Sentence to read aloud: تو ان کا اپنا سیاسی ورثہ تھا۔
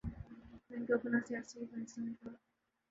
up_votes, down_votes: 0, 2